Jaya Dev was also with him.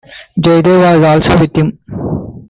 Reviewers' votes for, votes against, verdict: 1, 2, rejected